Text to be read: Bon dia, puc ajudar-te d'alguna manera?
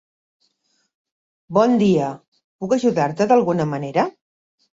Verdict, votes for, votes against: accepted, 2, 0